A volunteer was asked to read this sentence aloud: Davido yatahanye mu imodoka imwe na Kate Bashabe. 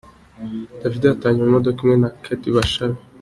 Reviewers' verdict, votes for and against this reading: accepted, 3, 0